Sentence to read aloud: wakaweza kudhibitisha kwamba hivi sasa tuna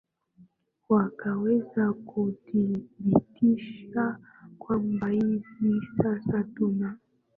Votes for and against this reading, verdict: 3, 2, accepted